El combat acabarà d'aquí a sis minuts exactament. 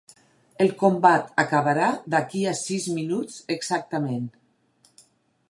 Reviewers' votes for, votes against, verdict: 4, 0, accepted